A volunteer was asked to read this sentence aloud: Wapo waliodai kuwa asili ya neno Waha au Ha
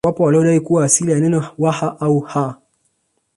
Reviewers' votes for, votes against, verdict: 1, 2, rejected